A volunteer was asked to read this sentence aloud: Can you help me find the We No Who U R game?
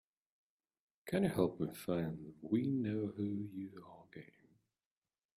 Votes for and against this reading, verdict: 0, 2, rejected